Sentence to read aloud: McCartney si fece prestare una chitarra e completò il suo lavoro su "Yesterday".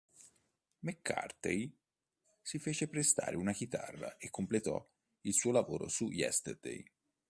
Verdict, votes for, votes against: rejected, 0, 2